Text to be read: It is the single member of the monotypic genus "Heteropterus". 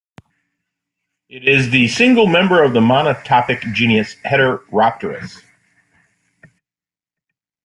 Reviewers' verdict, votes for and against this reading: accepted, 3, 0